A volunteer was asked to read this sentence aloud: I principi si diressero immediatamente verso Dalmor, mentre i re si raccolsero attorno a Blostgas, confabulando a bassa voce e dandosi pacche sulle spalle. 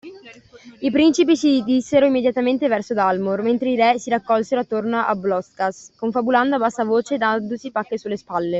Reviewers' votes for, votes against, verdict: 0, 2, rejected